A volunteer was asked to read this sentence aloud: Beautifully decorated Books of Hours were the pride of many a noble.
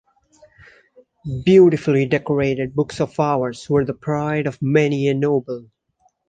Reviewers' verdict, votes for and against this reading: rejected, 1, 2